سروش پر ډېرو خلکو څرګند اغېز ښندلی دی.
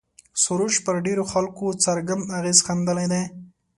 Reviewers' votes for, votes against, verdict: 2, 0, accepted